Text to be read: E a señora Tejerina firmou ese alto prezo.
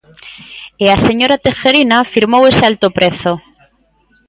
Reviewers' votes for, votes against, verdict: 2, 0, accepted